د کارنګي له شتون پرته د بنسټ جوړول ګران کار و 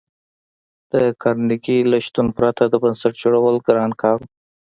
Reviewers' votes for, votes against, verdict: 2, 0, accepted